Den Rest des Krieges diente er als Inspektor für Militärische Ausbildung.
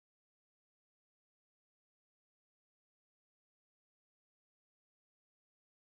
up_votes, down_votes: 0, 6